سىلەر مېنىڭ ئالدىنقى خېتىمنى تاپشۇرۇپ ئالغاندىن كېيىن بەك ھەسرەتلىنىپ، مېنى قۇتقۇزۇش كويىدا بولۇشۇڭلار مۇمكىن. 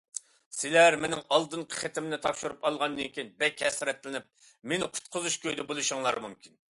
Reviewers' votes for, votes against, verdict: 2, 0, accepted